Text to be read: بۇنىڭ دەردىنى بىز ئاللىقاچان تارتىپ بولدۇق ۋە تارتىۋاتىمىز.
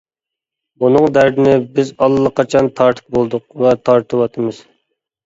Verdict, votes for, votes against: accepted, 2, 0